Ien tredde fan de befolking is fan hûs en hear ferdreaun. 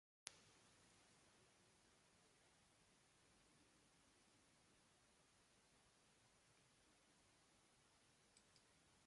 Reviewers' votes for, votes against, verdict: 0, 4, rejected